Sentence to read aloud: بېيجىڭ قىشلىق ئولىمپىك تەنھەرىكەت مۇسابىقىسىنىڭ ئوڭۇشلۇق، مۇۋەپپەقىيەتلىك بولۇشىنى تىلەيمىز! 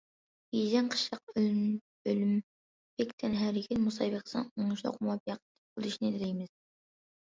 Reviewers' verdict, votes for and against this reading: rejected, 0, 2